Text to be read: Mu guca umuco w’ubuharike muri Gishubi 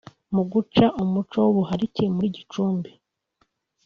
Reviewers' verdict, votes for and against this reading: rejected, 1, 2